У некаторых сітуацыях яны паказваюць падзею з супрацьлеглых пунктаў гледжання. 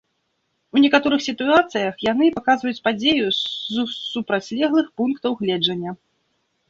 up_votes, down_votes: 0, 2